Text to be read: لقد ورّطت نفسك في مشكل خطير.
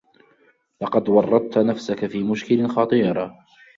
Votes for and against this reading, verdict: 2, 0, accepted